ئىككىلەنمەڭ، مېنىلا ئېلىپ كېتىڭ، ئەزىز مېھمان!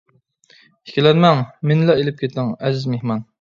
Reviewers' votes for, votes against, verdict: 2, 0, accepted